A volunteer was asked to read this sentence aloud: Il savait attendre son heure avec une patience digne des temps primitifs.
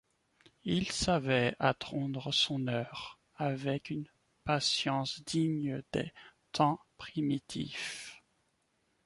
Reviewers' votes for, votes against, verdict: 1, 2, rejected